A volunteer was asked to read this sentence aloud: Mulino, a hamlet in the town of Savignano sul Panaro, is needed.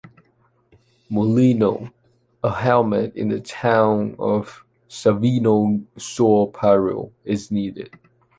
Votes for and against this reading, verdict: 0, 2, rejected